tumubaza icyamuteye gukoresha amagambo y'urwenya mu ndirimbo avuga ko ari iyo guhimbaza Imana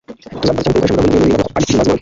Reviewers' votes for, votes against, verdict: 1, 2, rejected